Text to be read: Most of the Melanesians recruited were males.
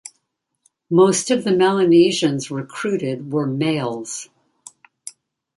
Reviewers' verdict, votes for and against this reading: rejected, 1, 2